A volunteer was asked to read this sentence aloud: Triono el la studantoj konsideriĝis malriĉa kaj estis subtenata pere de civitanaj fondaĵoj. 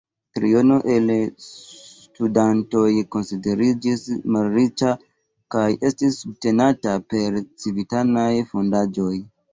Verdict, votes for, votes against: accepted, 2, 1